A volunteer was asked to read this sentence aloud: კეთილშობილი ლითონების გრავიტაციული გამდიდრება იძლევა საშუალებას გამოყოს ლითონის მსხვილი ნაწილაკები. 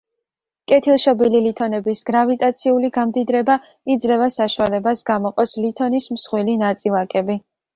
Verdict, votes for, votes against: accepted, 3, 0